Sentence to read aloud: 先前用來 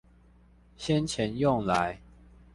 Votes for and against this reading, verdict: 2, 0, accepted